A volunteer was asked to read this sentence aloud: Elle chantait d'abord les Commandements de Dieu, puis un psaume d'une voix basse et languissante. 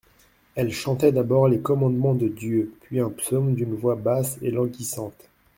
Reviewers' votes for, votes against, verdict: 2, 0, accepted